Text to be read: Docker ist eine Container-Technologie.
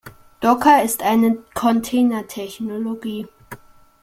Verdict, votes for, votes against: rejected, 1, 2